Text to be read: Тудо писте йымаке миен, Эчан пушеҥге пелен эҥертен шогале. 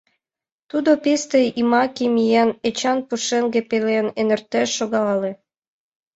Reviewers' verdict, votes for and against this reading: rejected, 2, 3